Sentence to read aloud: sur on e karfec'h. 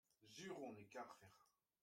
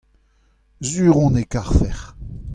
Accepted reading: second